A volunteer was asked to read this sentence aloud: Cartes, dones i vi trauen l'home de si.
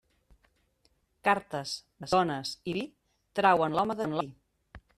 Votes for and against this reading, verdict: 0, 2, rejected